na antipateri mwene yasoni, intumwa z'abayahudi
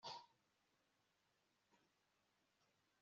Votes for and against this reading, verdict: 2, 1, accepted